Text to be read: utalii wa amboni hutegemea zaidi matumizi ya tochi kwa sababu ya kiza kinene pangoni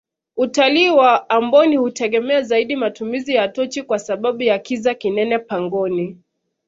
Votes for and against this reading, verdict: 2, 0, accepted